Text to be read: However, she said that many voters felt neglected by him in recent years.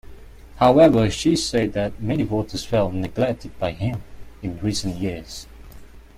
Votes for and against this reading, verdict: 2, 0, accepted